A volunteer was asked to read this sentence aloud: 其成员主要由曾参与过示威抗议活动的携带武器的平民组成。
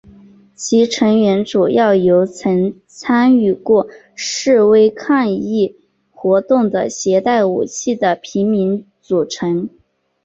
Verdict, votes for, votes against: accepted, 2, 1